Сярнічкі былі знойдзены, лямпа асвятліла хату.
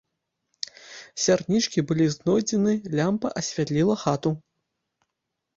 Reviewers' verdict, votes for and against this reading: accepted, 2, 0